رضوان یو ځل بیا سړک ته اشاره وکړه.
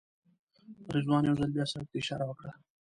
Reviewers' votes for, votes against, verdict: 0, 2, rejected